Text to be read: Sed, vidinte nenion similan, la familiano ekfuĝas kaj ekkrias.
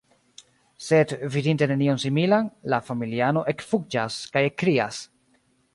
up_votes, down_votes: 1, 2